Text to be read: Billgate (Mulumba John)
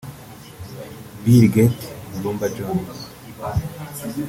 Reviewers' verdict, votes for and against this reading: accepted, 2, 0